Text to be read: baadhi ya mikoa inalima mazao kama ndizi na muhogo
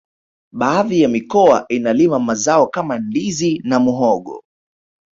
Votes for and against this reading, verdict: 2, 1, accepted